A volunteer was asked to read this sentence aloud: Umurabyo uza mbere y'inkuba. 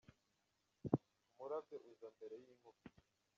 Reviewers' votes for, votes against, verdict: 0, 2, rejected